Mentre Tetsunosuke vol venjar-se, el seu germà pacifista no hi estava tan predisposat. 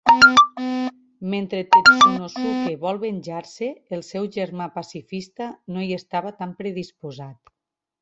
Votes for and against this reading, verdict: 0, 2, rejected